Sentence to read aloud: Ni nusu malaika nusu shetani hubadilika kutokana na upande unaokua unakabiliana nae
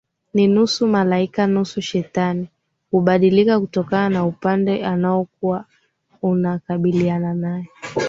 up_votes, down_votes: 2, 0